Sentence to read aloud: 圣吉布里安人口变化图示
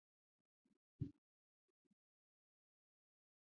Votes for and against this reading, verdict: 0, 2, rejected